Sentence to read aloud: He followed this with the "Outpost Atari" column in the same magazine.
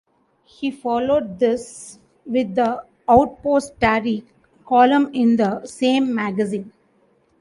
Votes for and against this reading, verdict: 2, 0, accepted